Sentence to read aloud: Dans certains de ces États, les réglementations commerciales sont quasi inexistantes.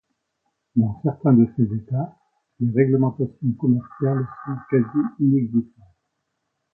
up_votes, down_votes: 1, 2